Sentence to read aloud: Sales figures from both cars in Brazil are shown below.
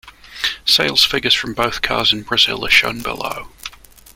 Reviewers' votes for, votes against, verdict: 2, 1, accepted